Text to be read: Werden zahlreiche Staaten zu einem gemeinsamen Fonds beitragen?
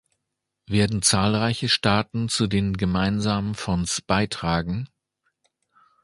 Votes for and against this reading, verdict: 0, 2, rejected